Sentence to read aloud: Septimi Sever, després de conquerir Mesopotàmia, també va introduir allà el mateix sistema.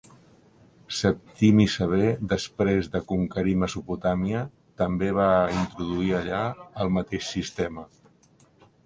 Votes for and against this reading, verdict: 1, 3, rejected